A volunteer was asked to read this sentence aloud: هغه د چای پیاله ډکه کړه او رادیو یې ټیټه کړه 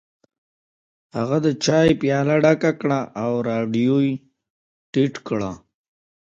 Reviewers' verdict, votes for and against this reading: accepted, 2, 1